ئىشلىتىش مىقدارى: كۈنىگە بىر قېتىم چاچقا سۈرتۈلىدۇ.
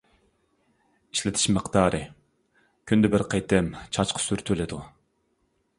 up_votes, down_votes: 0, 2